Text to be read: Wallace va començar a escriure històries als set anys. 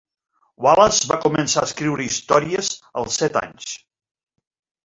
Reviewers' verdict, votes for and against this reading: rejected, 1, 2